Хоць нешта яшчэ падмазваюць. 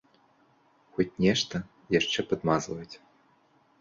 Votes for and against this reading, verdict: 2, 0, accepted